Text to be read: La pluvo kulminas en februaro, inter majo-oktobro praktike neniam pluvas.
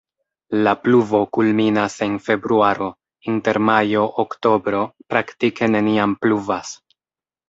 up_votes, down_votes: 1, 2